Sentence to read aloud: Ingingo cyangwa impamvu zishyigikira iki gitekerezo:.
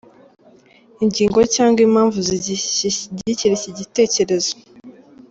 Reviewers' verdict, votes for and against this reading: rejected, 1, 2